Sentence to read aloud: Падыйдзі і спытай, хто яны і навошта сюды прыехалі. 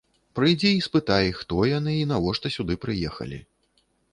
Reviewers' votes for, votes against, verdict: 1, 2, rejected